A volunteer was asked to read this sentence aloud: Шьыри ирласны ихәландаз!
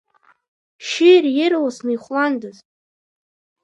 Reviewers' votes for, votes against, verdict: 2, 1, accepted